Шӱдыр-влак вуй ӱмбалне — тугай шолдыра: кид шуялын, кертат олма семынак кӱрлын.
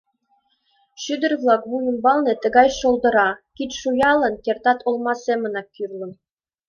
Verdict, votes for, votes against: rejected, 1, 2